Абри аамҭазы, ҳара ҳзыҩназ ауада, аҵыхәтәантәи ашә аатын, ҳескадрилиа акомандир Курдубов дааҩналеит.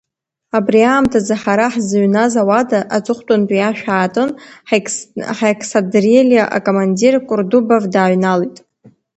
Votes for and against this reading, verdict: 1, 2, rejected